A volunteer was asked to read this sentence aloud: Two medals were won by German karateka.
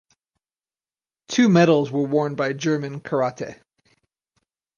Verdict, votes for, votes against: rejected, 0, 4